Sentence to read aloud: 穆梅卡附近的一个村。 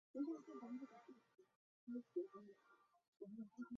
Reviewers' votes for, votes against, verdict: 1, 3, rejected